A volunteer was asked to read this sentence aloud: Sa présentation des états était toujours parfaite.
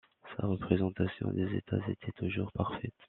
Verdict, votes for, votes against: rejected, 0, 2